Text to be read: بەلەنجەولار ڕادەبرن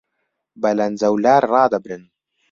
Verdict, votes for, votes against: accepted, 2, 0